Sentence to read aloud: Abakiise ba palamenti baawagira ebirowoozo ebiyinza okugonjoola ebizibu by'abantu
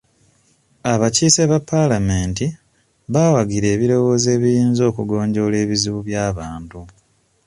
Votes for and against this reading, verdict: 2, 0, accepted